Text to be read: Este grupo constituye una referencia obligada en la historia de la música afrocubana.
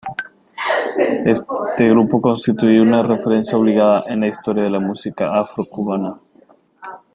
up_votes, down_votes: 0, 2